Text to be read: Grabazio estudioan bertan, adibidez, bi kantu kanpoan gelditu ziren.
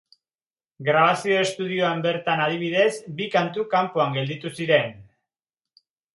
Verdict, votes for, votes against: accepted, 3, 0